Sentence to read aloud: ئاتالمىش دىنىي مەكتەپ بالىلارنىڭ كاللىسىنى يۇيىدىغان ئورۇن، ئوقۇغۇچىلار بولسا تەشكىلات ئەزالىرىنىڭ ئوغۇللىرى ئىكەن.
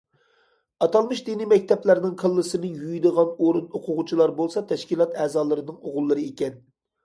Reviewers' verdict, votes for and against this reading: rejected, 1, 2